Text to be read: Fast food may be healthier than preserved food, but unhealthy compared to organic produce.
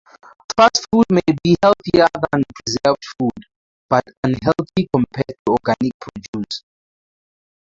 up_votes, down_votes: 2, 4